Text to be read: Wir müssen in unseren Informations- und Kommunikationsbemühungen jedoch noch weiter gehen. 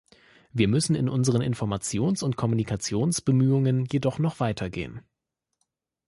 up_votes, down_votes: 2, 0